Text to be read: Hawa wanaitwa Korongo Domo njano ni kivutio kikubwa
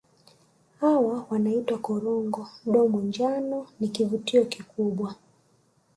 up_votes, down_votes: 2, 0